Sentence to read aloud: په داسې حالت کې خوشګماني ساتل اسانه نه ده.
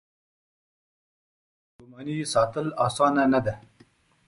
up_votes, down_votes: 2, 1